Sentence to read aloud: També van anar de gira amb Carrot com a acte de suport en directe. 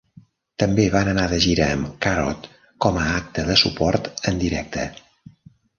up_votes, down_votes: 1, 2